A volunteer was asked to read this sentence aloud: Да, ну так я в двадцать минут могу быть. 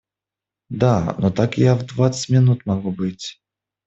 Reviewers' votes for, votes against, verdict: 0, 2, rejected